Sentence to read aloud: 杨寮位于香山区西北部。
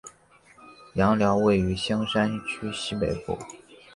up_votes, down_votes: 3, 1